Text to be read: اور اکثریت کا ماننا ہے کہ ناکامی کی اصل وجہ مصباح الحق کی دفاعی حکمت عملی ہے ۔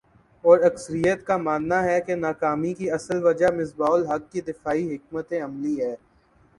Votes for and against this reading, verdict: 2, 1, accepted